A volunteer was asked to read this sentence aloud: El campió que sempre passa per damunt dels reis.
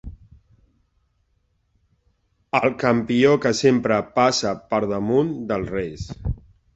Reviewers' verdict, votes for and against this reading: accepted, 4, 0